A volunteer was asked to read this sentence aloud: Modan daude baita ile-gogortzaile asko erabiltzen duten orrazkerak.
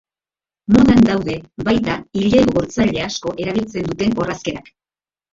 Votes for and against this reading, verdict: 0, 2, rejected